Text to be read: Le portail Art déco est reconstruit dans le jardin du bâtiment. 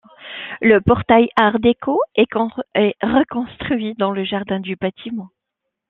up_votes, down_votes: 0, 2